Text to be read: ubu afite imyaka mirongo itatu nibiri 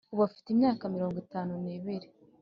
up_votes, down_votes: 1, 2